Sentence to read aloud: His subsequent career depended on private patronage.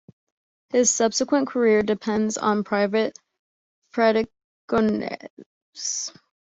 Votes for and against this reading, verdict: 0, 2, rejected